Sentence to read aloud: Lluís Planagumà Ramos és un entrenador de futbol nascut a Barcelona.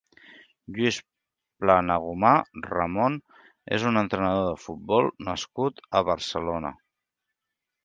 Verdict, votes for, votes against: rejected, 0, 2